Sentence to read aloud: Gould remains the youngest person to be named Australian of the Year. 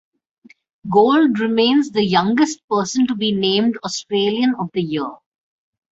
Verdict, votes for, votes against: accepted, 2, 0